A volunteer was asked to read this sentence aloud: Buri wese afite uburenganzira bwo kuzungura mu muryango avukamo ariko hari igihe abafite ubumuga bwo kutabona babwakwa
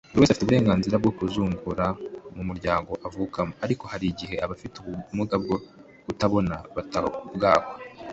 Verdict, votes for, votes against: rejected, 0, 2